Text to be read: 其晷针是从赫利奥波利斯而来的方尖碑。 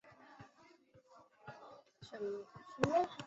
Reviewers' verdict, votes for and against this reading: rejected, 1, 3